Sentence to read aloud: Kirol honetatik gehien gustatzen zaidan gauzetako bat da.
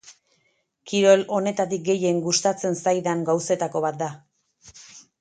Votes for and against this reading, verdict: 4, 0, accepted